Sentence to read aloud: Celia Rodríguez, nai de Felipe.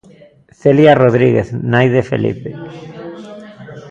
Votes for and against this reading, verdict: 2, 0, accepted